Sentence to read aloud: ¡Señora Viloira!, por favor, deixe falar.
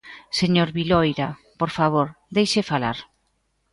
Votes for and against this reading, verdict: 2, 0, accepted